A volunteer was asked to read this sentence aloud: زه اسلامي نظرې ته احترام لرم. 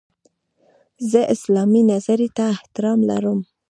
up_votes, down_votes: 1, 2